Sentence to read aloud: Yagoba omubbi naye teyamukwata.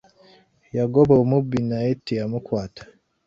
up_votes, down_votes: 2, 1